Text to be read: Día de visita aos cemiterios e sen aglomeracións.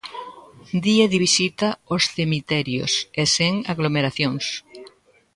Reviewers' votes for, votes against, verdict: 0, 2, rejected